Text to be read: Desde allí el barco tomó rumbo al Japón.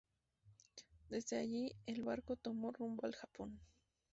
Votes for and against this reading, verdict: 2, 0, accepted